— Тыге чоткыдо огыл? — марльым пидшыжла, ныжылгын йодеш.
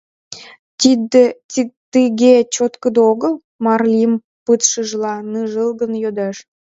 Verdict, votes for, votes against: rejected, 0, 2